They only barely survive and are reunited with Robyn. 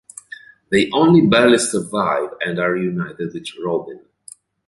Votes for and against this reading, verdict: 3, 0, accepted